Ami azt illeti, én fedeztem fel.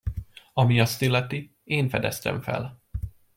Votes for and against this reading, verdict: 2, 0, accepted